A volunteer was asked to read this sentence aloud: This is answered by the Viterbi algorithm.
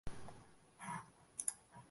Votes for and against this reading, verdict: 0, 2, rejected